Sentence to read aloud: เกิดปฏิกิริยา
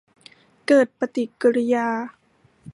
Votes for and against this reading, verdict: 2, 0, accepted